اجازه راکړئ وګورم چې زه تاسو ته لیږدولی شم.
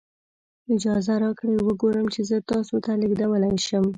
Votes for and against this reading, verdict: 2, 0, accepted